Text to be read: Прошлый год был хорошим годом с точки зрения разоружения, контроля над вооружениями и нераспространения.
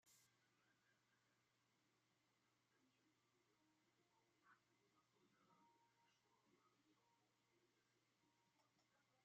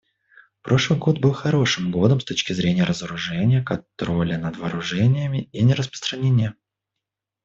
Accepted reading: second